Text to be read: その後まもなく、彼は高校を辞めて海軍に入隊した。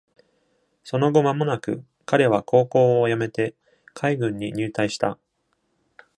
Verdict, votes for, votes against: accepted, 2, 0